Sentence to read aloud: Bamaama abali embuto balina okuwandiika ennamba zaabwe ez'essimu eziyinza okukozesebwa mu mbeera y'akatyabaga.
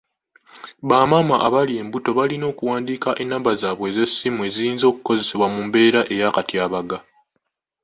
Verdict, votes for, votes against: accepted, 2, 0